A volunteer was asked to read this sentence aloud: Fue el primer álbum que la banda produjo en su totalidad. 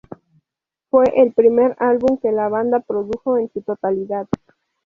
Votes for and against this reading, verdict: 2, 2, rejected